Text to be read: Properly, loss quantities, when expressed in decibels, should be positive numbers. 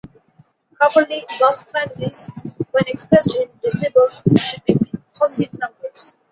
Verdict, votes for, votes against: accepted, 2, 0